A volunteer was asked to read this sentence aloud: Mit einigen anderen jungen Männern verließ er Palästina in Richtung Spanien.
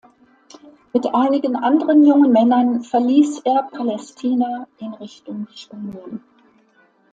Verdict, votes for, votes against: accepted, 2, 0